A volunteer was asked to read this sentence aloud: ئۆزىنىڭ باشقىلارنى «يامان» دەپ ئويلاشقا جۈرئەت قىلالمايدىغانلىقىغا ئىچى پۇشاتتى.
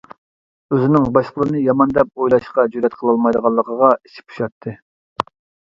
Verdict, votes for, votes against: rejected, 0, 2